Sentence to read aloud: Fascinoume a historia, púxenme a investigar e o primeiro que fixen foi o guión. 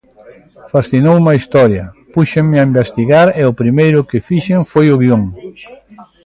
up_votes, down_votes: 2, 0